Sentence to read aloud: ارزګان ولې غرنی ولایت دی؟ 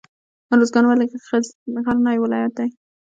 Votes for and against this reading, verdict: 0, 2, rejected